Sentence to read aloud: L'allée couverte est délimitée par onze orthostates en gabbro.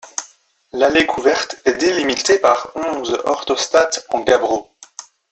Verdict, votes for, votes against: accepted, 2, 0